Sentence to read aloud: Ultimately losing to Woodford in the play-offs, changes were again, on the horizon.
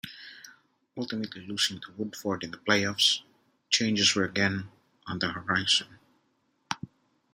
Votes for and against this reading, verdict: 2, 1, accepted